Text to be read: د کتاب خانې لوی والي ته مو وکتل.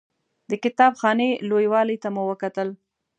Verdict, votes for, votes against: accepted, 2, 0